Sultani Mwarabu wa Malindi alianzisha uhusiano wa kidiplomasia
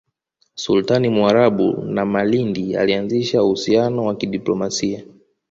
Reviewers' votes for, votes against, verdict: 0, 2, rejected